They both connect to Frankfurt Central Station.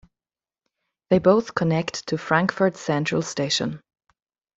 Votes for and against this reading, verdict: 2, 0, accepted